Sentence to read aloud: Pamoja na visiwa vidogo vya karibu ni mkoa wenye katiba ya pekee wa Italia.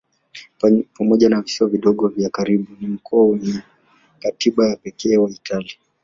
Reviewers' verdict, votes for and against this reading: rejected, 0, 2